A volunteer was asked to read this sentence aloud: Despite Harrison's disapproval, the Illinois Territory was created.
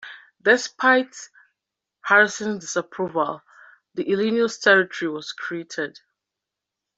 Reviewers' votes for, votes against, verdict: 1, 2, rejected